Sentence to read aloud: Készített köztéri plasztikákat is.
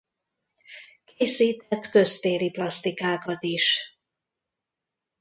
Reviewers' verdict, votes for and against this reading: rejected, 0, 2